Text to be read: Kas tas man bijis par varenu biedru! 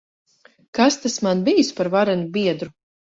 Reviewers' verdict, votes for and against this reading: accepted, 4, 0